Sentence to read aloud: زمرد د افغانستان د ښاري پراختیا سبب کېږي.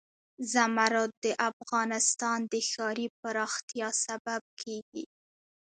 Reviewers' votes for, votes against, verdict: 2, 0, accepted